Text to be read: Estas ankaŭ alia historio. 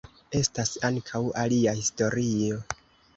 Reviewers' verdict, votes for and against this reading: accepted, 2, 0